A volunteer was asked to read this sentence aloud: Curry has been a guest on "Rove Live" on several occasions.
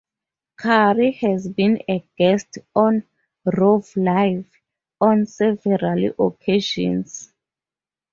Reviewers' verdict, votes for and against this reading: rejected, 2, 2